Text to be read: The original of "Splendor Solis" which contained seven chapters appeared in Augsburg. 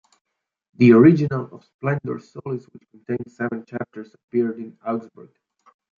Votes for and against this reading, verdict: 1, 2, rejected